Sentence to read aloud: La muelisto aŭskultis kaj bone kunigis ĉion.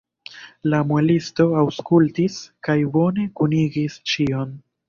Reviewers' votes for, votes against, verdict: 2, 1, accepted